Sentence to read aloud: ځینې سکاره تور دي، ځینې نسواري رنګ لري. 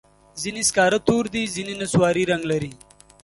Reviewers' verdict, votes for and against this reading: accepted, 2, 0